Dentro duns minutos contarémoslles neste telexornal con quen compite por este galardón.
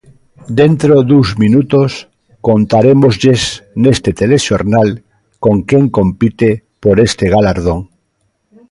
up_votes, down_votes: 0, 2